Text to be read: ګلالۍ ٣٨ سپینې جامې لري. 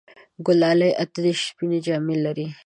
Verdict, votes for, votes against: rejected, 0, 2